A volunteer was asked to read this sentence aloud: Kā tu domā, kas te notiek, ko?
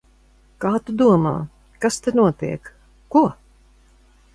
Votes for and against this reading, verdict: 0, 2, rejected